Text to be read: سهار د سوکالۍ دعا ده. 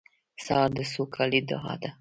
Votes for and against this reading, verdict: 2, 0, accepted